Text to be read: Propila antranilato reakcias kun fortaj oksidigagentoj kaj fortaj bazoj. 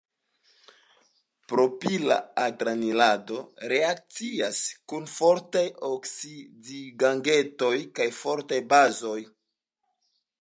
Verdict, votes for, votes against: accepted, 2, 1